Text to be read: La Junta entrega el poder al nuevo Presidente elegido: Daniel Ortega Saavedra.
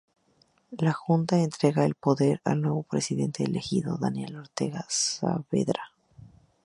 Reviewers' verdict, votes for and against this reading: rejected, 0, 2